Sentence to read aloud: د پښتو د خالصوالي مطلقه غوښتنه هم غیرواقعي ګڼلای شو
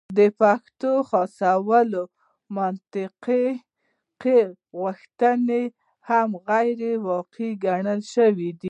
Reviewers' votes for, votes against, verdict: 1, 2, rejected